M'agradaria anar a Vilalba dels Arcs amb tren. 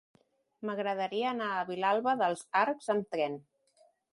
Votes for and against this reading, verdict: 3, 0, accepted